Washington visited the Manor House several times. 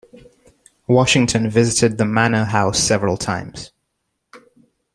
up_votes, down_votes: 2, 0